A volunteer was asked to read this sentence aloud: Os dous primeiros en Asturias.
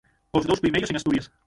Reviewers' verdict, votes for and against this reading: rejected, 0, 6